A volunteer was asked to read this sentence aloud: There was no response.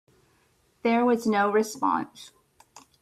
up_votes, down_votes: 2, 0